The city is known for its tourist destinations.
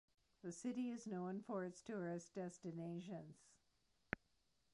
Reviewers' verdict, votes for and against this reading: accepted, 2, 1